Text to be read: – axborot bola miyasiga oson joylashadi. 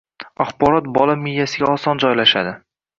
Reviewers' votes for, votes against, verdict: 1, 2, rejected